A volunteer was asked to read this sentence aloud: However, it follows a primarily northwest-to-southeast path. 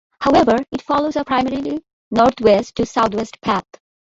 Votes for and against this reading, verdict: 1, 2, rejected